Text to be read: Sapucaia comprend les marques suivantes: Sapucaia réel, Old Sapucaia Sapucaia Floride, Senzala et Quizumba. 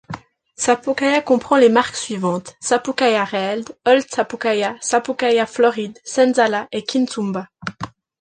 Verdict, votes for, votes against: accepted, 2, 0